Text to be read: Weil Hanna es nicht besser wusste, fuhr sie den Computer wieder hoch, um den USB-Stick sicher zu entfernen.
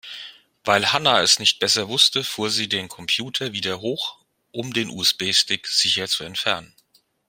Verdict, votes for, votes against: accepted, 2, 0